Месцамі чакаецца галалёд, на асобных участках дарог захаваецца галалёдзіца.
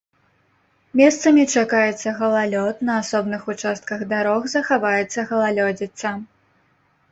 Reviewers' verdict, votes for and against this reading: accepted, 2, 0